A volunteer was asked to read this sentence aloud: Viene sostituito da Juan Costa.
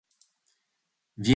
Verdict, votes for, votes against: rejected, 0, 3